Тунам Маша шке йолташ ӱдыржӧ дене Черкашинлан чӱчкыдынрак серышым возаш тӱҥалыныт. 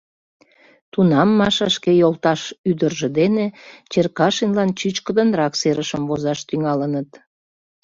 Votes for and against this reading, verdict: 2, 0, accepted